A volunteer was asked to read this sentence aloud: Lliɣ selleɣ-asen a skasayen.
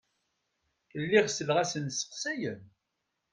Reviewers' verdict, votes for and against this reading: rejected, 0, 2